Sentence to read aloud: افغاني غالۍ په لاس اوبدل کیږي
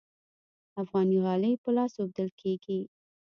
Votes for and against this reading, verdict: 2, 1, accepted